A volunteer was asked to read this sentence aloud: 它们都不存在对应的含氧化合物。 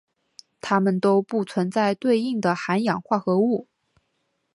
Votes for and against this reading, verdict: 2, 0, accepted